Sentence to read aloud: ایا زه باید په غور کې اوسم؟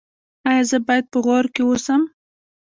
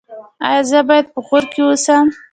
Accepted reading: second